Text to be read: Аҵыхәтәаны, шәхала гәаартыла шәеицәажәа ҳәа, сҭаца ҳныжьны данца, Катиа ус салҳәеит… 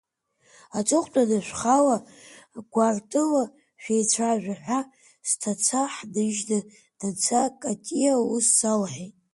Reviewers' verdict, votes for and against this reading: rejected, 0, 2